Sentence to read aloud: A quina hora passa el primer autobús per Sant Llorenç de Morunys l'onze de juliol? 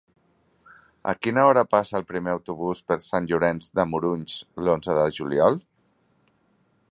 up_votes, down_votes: 3, 0